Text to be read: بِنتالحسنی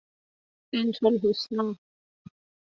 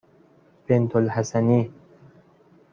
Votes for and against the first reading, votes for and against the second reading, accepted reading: 2, 0, 0, 2, first